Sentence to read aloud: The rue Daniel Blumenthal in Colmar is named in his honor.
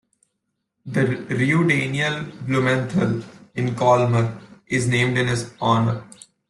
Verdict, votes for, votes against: rejected, 0, 2